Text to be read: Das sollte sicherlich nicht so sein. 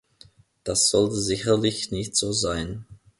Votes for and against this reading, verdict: 2, 0, accepted